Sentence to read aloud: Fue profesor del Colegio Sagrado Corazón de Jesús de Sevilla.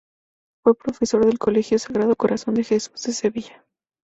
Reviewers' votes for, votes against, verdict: 2, 0, accepted